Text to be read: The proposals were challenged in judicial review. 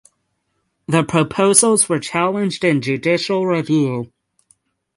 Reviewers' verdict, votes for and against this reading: accepted, 6, 0